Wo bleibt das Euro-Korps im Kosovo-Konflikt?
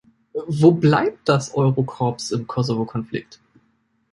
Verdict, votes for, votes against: rejected, 1, 2